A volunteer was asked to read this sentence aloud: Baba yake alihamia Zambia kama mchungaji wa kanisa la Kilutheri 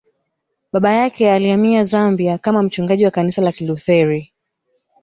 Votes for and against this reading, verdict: 1, 2, rejected